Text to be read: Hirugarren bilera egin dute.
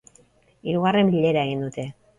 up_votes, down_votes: 3, 0